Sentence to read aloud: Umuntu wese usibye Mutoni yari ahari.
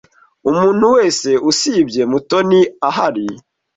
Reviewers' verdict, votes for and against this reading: rejected, 1, 2